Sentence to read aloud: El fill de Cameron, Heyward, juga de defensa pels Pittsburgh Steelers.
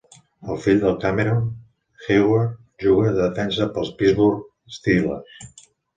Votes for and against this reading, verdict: 0, 2, rejected